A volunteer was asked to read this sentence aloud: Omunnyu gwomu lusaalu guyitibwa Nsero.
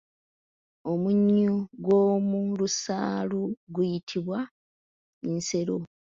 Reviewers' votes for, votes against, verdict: 1, 2, rejected